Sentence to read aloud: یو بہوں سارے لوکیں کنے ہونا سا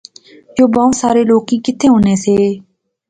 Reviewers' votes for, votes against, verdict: 1, 2, rejected